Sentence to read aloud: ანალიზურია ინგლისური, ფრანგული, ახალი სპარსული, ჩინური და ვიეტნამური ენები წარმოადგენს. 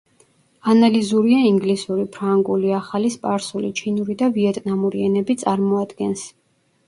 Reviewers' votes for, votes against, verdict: 1, 2, rejected